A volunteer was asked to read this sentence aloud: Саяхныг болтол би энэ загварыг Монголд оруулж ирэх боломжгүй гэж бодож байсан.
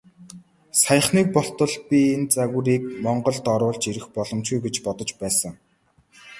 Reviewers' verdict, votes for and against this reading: accepted, 2, 0